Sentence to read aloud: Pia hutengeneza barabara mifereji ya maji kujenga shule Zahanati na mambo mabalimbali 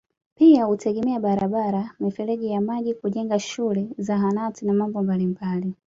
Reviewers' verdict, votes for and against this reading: accepted, 2, 1